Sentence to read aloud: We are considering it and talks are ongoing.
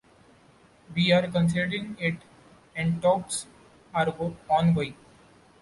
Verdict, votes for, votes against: rejected, 0, 2